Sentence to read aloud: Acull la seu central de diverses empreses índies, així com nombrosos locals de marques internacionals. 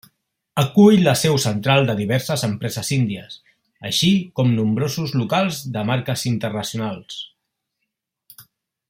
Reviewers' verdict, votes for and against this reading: rejected, 1, 2